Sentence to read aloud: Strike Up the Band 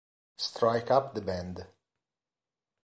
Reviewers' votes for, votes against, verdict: 2, 0, accepted